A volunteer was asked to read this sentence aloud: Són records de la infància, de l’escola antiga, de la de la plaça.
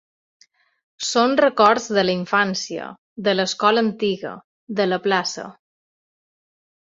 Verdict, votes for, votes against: rejected, 0, 2